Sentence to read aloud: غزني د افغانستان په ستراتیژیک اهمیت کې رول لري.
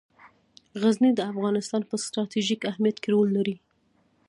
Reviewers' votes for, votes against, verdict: 2, 0, accepted